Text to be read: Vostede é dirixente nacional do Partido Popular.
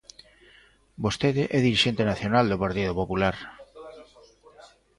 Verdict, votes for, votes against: rejected, 1, 2